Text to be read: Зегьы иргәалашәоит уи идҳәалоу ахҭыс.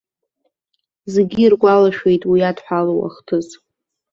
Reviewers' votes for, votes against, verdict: 2, 0, accepted